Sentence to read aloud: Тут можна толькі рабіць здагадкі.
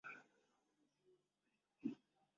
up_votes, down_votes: 0, 2